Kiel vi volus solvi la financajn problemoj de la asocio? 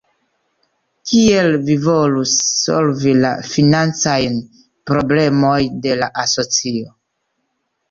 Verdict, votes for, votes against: rejected, 1, 2